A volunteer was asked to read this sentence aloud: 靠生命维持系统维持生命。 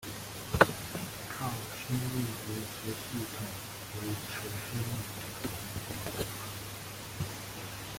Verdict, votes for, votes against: rejected, 0, 2